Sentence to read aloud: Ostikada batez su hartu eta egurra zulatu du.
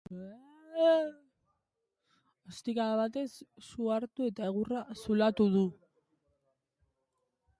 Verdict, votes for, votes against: rejected, 1, 3